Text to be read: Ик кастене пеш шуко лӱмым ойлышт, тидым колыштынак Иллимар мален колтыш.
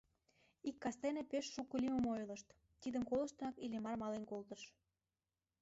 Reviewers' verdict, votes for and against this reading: rejected, 1, 2